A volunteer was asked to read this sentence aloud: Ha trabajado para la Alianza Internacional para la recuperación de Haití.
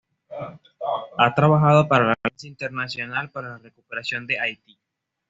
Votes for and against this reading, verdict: 2, 0, accepted